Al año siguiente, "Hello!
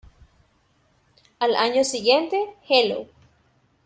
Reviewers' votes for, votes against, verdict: 0, 2, rejected